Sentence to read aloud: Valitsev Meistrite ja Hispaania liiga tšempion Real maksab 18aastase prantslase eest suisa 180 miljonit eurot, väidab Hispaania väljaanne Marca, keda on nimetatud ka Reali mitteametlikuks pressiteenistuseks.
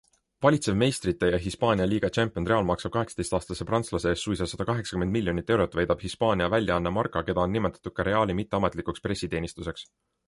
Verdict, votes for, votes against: rejected, 0, 2